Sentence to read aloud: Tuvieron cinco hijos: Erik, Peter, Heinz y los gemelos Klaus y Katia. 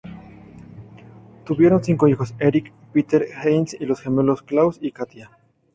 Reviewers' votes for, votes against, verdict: 2, 0, accepted